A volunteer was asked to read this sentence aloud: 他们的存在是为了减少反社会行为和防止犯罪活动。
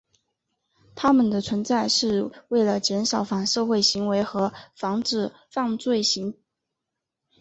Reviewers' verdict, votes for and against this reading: rejected, 0, 3